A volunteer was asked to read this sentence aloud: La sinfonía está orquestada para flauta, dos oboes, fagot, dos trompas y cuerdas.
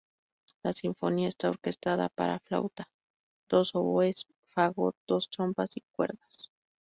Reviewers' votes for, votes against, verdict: 2, 0, accepted